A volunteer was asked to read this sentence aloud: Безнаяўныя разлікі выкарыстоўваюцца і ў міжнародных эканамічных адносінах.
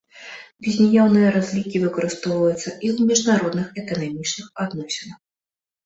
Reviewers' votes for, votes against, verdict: 0, 2, rejected